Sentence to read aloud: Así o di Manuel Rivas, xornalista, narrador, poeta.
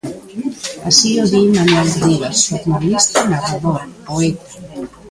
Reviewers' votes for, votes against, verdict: 0, 2, rejected